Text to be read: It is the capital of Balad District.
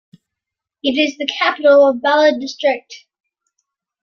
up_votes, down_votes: 2, 0